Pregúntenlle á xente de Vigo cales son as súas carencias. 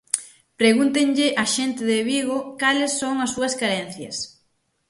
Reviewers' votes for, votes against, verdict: 6, 0, accepted